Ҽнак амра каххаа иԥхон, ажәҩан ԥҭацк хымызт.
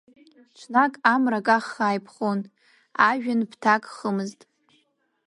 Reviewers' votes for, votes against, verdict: 0, 2, rejected